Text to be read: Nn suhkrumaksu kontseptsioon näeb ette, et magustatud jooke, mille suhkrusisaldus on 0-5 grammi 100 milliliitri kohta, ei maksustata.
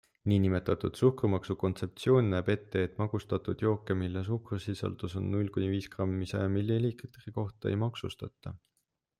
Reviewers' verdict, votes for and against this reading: rejected, 0, 2